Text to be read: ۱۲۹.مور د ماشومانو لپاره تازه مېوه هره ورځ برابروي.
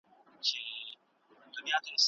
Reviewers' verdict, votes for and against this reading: rejected, 0, 2